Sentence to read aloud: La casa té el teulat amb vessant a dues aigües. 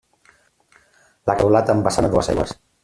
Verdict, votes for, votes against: rejected, 0, 2